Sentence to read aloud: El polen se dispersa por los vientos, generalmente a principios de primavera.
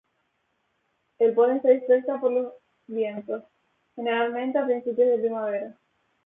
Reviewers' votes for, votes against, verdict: 0, 2, rejected